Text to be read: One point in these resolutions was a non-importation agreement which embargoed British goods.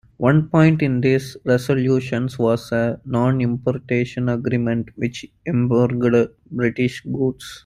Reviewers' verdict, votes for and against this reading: rejected, 0, 2